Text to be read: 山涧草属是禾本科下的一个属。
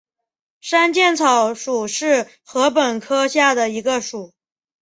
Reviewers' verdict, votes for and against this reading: accepted, 5, 2